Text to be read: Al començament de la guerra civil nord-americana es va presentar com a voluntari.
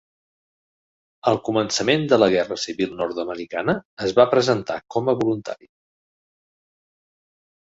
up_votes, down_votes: 3, 0